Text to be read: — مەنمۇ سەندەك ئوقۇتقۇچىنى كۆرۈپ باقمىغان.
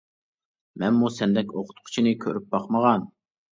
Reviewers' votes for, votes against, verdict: 2, 0, accepted